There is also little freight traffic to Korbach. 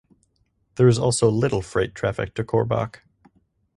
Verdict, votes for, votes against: accepted, 4, 0